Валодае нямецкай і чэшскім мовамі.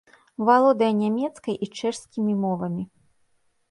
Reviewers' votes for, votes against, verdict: 1, 2, rejected